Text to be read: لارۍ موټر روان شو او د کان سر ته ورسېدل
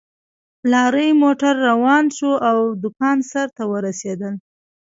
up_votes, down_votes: 1, 2